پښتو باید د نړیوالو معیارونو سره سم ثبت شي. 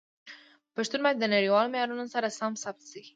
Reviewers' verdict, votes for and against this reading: accepted, 2, 0